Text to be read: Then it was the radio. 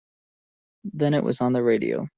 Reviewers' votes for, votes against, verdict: 1, 2, rejected